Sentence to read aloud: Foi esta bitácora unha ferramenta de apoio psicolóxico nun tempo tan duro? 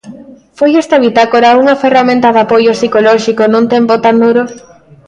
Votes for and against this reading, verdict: 3, 0, accepted